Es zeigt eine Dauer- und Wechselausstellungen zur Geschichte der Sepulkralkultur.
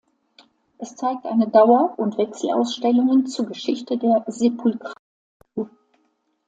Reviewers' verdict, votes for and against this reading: rejected, 1, 2